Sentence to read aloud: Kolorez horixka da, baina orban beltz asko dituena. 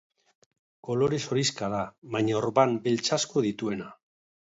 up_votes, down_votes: 2, 0